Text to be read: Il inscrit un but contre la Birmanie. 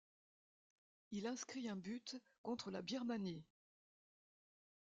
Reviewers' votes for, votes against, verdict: 1, 2, rejected